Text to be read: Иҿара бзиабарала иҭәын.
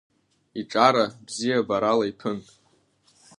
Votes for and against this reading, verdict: 3, 0, accepted